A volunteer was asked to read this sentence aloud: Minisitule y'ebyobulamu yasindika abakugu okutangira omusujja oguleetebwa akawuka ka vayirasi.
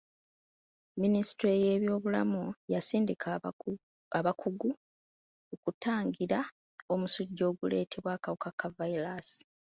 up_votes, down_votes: 0, 2